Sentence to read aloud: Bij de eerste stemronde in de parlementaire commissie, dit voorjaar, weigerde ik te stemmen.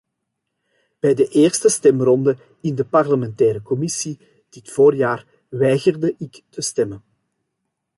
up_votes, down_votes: 2, 1